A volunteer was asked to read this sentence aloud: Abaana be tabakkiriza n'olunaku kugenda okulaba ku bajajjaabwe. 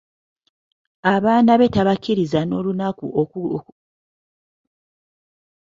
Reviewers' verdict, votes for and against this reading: rejected, 0, 2